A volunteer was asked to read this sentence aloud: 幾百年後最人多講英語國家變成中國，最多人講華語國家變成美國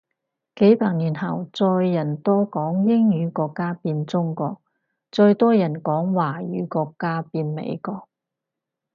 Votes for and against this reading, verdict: 2, 2, rejected